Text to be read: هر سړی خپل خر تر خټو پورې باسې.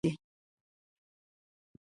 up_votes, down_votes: 0, 2